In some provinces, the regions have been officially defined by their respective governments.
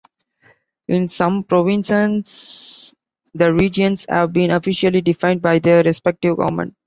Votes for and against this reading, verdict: 1, 2, rejected